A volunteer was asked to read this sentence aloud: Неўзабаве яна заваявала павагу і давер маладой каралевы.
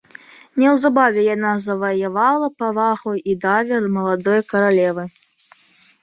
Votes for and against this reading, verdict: 1, 2, rejected